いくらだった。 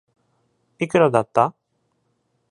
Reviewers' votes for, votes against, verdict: 2, 0, accepted